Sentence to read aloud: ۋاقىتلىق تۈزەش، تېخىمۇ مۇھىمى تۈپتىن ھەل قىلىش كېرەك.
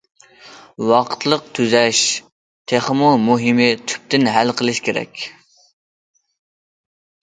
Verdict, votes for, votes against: accepted, 2, 0